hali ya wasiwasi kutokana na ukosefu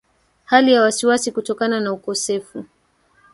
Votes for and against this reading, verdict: 3, 2, accepted